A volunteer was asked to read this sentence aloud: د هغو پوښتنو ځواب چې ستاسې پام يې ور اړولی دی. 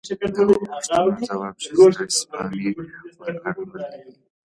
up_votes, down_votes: 2, 3